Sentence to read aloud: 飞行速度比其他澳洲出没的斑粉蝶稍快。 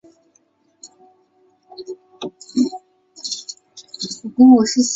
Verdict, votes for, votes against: rejected, 0, 2